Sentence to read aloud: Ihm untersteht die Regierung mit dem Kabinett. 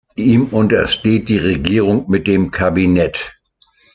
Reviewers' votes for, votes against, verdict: 2, 0, accepted